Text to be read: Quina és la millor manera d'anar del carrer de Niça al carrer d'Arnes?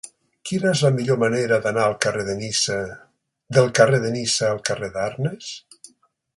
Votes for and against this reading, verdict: 1, 2, rejected